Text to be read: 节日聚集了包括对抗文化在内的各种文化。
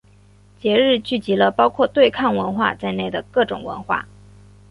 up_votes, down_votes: 2, 0